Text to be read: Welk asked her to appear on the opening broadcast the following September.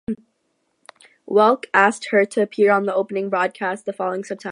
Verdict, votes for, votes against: rejected, 0, 2